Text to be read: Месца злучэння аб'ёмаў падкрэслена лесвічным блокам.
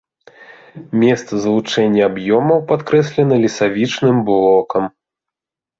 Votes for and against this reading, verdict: 1, 2, rejected